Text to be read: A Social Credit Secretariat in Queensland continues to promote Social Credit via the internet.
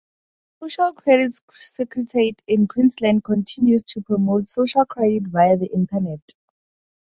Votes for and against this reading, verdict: 2, 2, rejected